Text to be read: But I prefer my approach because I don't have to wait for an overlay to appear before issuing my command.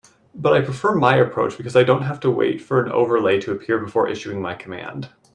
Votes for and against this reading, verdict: 2, 0, accepted